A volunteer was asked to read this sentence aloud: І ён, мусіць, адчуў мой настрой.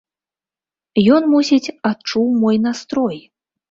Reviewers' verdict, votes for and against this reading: rejected, 0, 2